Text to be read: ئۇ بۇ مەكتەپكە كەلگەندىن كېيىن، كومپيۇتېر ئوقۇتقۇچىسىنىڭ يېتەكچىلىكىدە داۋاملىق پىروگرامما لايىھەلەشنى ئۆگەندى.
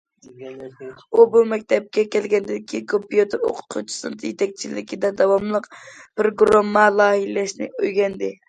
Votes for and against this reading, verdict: 0, 2, rejected